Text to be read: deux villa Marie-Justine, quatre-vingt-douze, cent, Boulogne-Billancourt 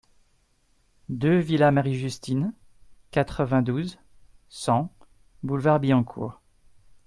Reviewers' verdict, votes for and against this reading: rejected, 0, 2